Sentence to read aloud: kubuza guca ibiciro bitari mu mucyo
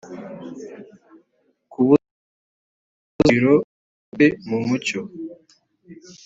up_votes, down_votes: 0, 2